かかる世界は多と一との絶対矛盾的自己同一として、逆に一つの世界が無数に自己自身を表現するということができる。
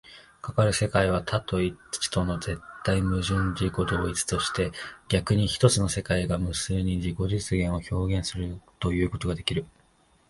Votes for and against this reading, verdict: 1, 2, rejected